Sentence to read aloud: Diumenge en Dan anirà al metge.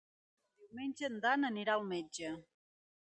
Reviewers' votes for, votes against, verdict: 3, 1, accepted